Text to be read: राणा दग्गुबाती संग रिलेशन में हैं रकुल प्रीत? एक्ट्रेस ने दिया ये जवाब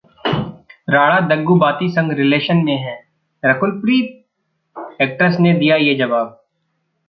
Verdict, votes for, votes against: rejected, 1, 2